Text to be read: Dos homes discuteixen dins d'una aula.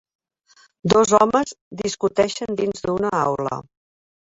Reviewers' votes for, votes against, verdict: 3, 0, accepted